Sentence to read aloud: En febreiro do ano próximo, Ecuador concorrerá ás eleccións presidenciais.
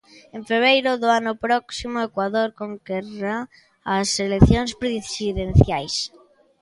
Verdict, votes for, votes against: rejected, 0, 2